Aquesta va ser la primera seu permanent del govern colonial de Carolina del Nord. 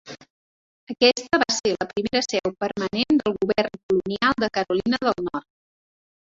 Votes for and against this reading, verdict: 4, 0, accepted